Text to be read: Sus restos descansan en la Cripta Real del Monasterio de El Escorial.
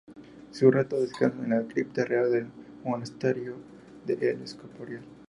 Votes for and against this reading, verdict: 0, 2, rejected